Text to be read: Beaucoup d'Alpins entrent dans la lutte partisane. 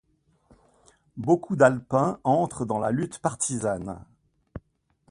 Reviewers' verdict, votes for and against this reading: accepted, 2, 0